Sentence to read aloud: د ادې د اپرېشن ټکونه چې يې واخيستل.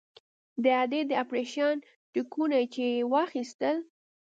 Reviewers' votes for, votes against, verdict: 2, 0, accepted